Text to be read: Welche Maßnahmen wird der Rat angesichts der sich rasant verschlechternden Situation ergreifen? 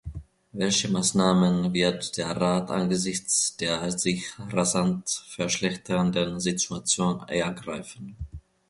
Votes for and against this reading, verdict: 1, 2, rejected